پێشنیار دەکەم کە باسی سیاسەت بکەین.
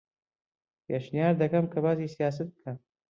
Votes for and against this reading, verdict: 0, 2, rejected